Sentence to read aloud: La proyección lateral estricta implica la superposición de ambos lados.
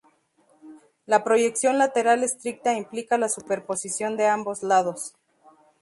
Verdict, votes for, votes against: accepted, 2, 0